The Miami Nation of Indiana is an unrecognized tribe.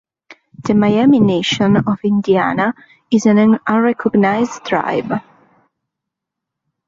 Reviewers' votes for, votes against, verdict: 1, 2, rejected